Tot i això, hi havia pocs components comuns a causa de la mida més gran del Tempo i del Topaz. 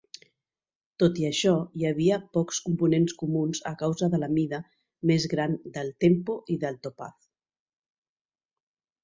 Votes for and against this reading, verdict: 3, 0, accepted